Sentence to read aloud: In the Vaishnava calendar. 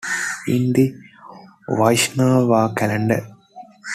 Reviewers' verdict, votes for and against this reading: accepted, 2, 1